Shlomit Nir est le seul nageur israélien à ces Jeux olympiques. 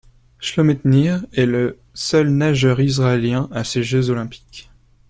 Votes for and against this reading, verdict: 2, 0, accepted